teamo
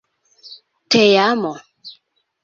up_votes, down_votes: 2, 1